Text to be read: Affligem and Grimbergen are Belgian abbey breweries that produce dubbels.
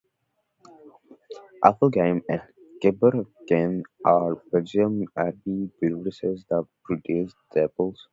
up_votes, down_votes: 0, 2